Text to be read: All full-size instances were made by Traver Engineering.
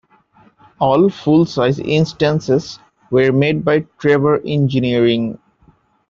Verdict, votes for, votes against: accepted, 2, 0